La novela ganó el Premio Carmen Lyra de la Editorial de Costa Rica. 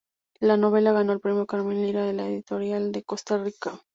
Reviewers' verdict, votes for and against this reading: accepted, 2, 0